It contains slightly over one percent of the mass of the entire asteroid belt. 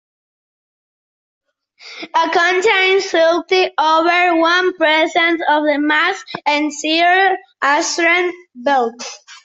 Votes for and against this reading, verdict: 0, 2, rejected